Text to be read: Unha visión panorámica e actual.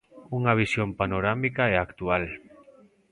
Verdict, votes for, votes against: accepted, 2, 0